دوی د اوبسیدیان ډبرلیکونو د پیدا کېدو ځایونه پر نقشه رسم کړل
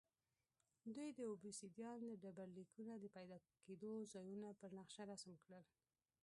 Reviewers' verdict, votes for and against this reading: rejected, 0, 2